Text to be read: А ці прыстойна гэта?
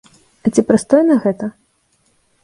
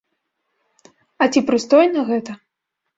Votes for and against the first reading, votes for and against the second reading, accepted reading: 2, 0, 1, 2, first